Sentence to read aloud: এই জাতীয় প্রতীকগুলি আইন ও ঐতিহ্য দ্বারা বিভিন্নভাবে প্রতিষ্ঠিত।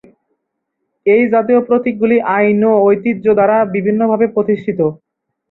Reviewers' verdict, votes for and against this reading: accepted, 2, 0